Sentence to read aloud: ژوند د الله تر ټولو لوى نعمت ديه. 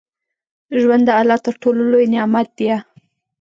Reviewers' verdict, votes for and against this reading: accepted, 2, 0